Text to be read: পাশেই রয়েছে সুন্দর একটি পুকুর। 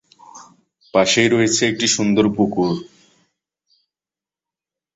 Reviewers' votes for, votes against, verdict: 0, 2, rejected